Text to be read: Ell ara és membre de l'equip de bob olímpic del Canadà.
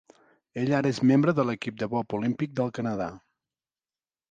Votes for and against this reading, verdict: 2, 0, accepted